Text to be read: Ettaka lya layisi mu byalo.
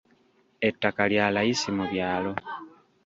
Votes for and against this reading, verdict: 0, 2, rejected